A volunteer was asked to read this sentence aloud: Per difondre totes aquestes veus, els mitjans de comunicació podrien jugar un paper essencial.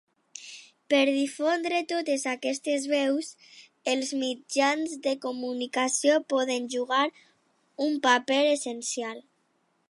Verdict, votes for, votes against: rejected, 0, 2